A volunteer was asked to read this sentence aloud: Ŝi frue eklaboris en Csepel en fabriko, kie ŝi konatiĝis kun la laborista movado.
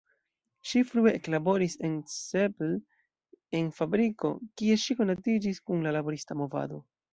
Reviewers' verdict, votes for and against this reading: accepted, 2, 0